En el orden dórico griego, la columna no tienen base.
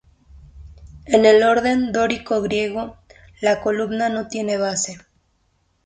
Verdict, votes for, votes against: accepted, 4, 0